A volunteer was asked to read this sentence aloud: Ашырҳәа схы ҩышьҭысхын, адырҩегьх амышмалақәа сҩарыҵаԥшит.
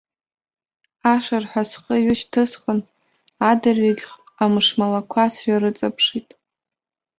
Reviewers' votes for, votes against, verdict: 1, 2, rejected